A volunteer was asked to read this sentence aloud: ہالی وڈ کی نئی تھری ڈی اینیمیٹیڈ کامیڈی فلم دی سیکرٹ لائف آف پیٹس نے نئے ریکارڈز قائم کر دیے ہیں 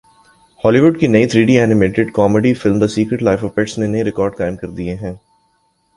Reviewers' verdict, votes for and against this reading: accepted, 2, 1